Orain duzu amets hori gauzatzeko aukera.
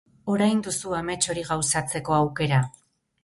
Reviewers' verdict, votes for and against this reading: rejected, 0, 2